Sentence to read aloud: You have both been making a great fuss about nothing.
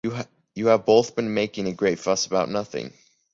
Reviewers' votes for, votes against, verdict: 2, 3, rejected